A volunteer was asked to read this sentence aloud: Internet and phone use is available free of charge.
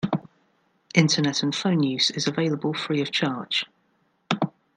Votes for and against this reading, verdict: 2, 1, accepted